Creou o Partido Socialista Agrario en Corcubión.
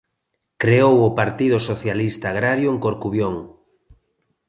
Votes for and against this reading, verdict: 2, 0, accepted